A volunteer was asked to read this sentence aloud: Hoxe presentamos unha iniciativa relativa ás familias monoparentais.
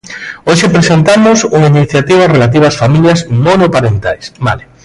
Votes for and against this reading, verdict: 0, 2, rejected